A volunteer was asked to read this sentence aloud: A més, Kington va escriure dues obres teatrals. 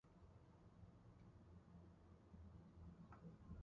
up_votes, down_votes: 0, 2